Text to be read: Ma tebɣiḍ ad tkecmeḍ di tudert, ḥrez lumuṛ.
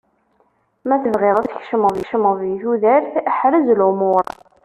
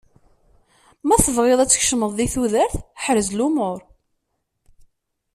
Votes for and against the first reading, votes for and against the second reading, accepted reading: 0, 2, 2, 0, second